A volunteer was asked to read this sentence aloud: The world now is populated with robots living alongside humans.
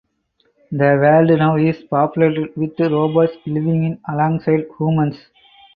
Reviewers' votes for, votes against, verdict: 4, 2, accepted